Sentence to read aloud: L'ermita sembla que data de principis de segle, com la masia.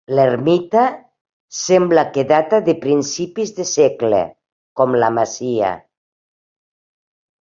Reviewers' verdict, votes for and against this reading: accepted, 2, 0